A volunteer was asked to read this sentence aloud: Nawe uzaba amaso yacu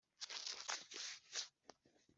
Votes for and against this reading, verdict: 0, 2, rejected